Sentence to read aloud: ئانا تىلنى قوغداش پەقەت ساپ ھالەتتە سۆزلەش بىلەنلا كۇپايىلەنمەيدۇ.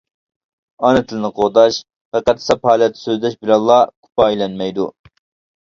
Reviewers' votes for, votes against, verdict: 2, 0, accepted